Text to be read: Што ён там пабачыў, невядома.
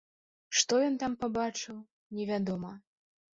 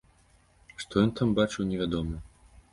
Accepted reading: first